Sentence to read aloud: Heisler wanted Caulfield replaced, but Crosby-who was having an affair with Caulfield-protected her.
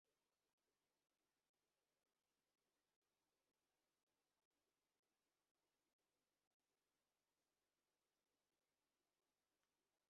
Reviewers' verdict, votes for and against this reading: rejected, 0, 2